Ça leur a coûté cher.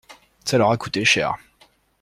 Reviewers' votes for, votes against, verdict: 2, 0, accepted